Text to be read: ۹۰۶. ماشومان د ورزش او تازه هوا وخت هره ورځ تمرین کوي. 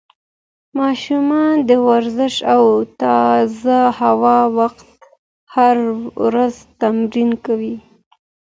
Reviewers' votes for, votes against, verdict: 0, 2, rejected